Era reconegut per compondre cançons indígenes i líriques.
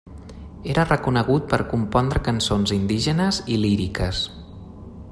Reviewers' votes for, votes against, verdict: 3, 0, accepted